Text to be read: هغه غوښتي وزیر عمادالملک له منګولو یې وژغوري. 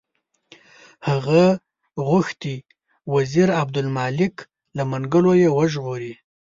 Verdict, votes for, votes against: accepted, 2, 0